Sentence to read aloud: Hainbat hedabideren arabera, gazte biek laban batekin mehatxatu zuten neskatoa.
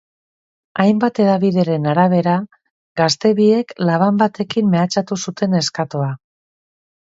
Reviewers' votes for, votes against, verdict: 2, 0, accepted